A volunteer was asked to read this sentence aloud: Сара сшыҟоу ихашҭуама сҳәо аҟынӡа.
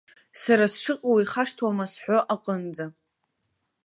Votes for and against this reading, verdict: 2, 0, accepted